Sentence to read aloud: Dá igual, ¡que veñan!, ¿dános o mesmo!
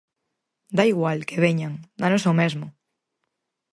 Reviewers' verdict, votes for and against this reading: accepted, 6, 0